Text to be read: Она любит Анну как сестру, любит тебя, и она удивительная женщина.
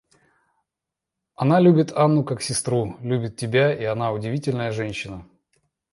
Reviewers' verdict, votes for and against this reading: accepted, 2, 0